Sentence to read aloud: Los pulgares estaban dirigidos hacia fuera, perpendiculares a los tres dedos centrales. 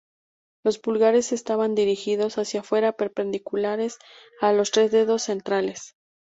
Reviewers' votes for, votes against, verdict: 2, 0, accepted